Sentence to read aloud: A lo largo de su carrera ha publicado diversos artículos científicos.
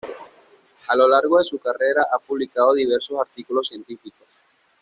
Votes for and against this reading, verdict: 2, 0, accepted